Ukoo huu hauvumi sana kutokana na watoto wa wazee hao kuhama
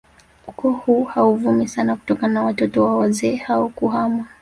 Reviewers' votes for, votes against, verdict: 2, 0, accepted